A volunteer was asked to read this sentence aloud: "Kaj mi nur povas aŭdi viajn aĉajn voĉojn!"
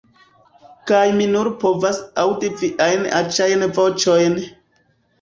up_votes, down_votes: 1, 2